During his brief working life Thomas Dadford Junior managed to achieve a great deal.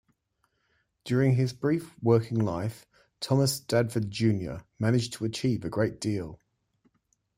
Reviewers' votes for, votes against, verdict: 2, 0, accepted